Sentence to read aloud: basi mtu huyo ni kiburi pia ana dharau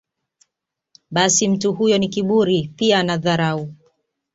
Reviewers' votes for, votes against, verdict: 2, 0, accepted